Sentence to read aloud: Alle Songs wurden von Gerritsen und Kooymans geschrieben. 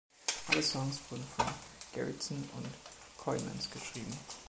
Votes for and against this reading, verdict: 0, 2, rejected